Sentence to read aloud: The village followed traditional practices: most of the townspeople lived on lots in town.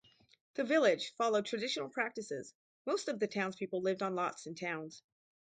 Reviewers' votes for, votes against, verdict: 2, 2, rejected